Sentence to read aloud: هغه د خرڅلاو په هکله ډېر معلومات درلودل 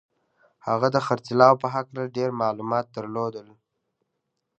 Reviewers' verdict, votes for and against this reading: accepted, 2, 0